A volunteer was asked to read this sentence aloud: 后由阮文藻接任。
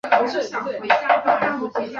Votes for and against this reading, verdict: 0, 3, rejected